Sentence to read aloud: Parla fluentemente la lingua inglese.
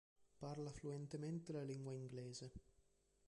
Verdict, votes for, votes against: accepted, 2, 1